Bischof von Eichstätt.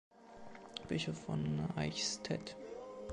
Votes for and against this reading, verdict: 2, 0, accepted